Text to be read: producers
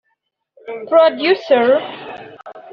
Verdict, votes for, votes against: rejected, 1, 3